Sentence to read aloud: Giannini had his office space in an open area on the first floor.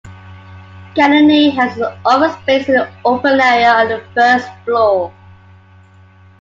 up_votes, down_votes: 2, 0